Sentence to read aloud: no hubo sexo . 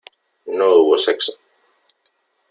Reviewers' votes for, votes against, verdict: 3, 0, accepted